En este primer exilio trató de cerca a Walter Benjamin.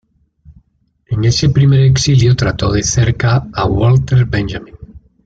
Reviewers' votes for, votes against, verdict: 1, 2, rejected